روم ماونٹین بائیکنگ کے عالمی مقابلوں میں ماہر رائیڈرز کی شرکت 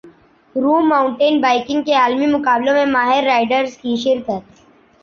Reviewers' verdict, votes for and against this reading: accepted, 2, 1